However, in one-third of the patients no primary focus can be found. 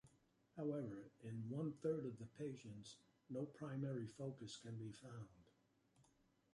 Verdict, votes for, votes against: rejected, 1, 2